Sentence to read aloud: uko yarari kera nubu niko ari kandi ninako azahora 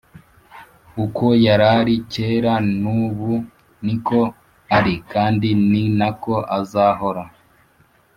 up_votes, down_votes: 2, 0